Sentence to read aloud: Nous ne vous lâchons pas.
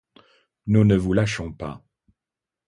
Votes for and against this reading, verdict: 2, 0, accepted